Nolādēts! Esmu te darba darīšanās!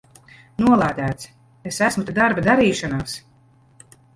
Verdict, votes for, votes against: rejected, 0, 2